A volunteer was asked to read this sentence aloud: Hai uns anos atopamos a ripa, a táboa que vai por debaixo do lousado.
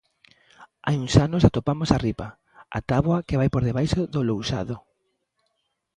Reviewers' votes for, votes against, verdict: 2, 0, accepted